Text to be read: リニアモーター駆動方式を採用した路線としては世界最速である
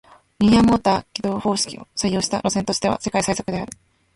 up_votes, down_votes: 1, 2